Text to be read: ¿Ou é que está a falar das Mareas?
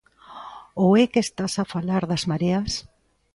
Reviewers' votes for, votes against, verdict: 1, 2, rejected